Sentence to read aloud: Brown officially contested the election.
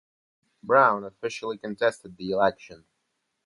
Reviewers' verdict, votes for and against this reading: accepted, 2, 0